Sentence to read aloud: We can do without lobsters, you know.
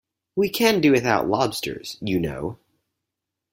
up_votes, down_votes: 4, 0